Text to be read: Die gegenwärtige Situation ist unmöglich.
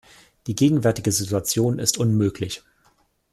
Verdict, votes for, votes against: accepted, 2, 0